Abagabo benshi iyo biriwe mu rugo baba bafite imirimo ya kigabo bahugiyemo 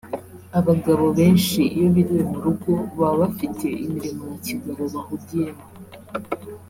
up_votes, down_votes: 3, 0